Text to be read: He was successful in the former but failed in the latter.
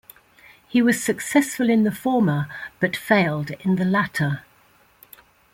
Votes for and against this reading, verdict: 2, 0, accepted